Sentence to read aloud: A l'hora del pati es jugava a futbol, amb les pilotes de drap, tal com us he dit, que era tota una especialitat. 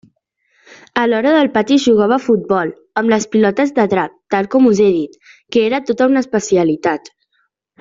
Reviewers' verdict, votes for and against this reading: accepted, 2, 1